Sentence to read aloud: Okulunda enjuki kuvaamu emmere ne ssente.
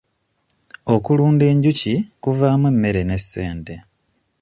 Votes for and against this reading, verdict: 2, 0, accepted